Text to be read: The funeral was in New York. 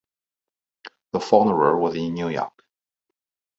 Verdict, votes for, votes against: rejected, 0, 2